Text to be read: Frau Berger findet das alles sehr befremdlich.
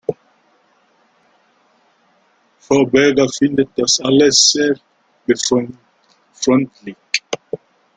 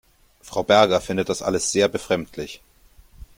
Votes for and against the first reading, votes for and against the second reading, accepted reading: 0, 2, 2, 0, second